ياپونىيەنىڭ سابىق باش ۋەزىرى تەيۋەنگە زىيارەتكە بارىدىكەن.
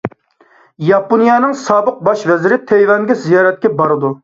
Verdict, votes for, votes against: rejected, 0, 2